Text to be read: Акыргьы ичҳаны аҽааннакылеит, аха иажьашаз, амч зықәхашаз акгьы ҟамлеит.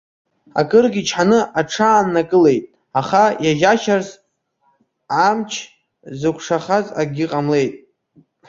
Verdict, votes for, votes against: rejected, 0, 2